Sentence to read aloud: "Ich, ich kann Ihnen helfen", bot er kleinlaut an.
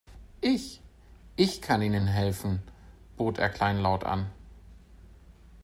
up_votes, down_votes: 3, 0